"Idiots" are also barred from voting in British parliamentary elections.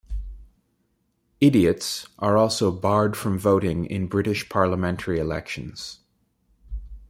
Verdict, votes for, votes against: accepted, 2, 0